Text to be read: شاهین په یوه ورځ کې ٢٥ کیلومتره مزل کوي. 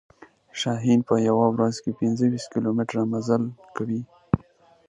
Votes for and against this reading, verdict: 0, 2, rejected